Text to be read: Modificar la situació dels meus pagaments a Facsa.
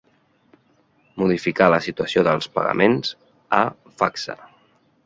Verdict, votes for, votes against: rejected, 0, 2